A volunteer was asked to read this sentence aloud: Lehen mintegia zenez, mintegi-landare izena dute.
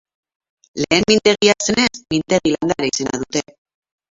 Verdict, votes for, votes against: rejected, 0, 2